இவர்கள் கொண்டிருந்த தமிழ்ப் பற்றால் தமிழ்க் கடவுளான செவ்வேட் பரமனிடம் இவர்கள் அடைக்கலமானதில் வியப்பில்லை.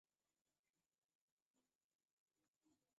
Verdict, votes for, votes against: rejected, 0, 2